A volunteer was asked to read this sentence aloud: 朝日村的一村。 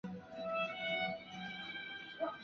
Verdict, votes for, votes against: accepted, 2, 0